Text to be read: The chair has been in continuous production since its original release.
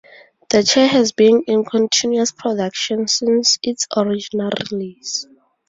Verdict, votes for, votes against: accepted, 2, 0